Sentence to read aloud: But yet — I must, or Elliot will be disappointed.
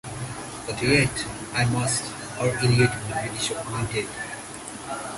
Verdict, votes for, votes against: accepted, 2, 1